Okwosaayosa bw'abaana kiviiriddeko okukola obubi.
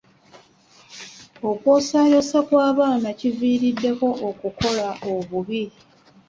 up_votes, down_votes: 2, 1